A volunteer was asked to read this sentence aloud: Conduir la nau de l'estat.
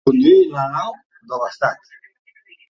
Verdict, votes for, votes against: rejected, 1, 2